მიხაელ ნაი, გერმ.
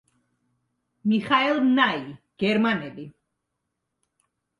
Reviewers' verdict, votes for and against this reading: rejected, 0, 2